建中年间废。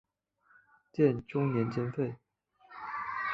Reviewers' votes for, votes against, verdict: 3, 0, accepted